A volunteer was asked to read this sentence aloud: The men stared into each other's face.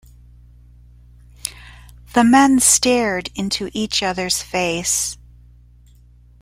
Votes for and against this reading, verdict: 2, 0, accepted